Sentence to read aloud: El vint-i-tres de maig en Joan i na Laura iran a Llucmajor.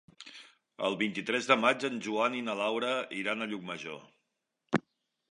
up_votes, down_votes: 3, 0